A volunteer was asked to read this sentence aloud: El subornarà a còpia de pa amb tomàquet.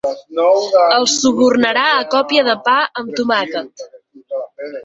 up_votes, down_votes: 2, 4